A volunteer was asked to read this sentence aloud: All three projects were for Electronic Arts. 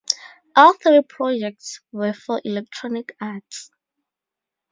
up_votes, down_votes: 4, 0